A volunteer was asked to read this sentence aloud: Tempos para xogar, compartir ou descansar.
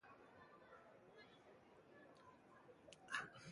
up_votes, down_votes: 0, 2